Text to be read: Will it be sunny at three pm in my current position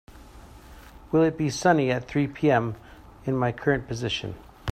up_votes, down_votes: 2, 0